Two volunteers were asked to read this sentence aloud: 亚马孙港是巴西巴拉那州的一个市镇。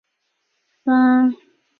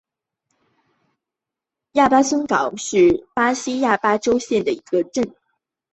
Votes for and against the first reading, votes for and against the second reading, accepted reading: 0, 3, 4, 2, second